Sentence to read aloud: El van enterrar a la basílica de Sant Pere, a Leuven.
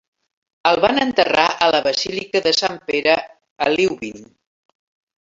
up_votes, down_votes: 2, 0